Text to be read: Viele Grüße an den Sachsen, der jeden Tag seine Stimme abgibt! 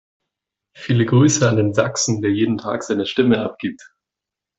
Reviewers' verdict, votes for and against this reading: accepted, 2, 0